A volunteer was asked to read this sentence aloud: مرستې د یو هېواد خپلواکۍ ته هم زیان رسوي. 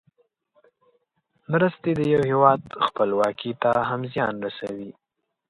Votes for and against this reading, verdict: 2, 0, accepted